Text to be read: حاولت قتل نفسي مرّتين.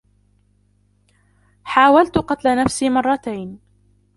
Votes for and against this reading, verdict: 0, 2, rejected